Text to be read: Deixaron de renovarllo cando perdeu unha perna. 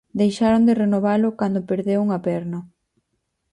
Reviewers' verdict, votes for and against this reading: rejected, 0, 4